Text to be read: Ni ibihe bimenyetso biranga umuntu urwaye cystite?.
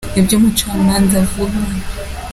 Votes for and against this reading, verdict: 0, 2, rejected